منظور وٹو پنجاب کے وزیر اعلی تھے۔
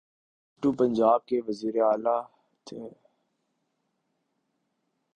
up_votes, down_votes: 3, 4